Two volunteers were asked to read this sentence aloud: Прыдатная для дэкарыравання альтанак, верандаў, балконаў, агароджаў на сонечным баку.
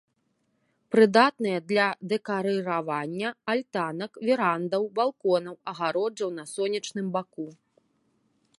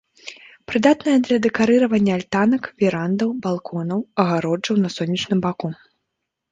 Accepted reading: second